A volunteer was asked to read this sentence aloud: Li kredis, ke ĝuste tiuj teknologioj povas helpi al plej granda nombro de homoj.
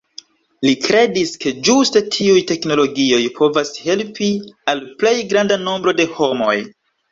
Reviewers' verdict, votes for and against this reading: rejected, 1, 2